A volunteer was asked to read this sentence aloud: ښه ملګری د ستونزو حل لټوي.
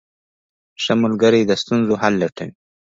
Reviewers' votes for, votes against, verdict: 1, 2, rejected